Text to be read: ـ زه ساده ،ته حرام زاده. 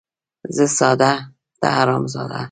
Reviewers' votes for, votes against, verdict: 2, 0, accepted